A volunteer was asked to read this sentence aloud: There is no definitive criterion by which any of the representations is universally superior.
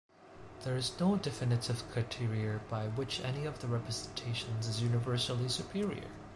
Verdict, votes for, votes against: accepted, 2, 1